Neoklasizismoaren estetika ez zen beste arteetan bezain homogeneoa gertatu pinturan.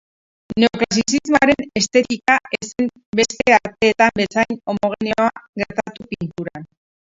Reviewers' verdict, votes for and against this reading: rejected, 0, 4